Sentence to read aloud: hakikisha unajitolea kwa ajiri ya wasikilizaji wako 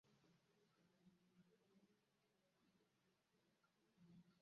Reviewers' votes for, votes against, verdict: 0, 2, rejected